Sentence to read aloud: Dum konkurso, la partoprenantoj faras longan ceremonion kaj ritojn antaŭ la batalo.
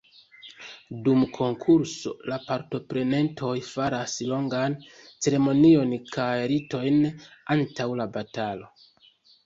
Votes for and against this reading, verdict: 1, 2, rejected